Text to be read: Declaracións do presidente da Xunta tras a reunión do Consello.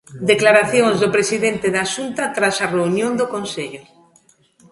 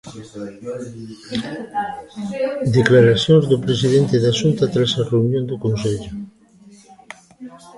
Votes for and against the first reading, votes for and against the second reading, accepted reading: 2, 0, 0, 2, first